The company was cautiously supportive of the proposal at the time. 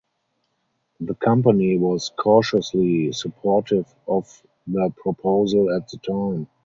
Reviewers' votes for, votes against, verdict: 2, 2, rejected